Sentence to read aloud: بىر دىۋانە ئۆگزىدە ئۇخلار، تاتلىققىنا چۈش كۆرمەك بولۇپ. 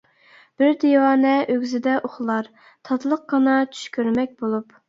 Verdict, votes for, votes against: accepted, 2, 0